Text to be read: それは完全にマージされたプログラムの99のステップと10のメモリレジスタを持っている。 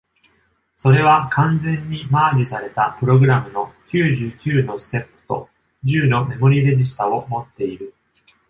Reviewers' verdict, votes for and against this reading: rejected, 0, 2